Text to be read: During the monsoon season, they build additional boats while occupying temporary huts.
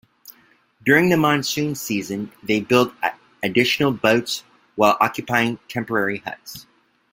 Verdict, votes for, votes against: accepted, 2, 0